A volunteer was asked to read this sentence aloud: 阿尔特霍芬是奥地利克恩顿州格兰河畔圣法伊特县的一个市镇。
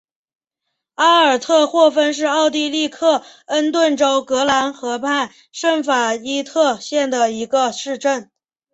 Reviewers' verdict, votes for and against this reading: accepted, 6, 0